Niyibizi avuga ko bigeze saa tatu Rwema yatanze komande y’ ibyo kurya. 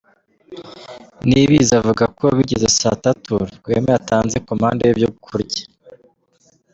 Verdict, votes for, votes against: accepted, 2, 0